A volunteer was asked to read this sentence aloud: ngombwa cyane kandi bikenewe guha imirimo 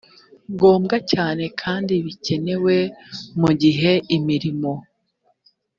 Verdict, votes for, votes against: rejected, 1, 2